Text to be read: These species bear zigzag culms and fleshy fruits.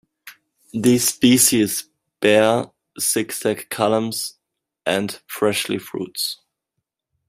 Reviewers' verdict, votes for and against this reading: rejected, 0, 2